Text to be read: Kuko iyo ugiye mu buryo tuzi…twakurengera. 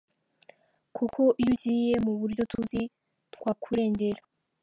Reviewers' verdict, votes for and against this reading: accepted, 2, 0